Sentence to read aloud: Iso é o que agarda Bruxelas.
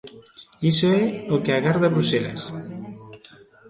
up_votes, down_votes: 2, 0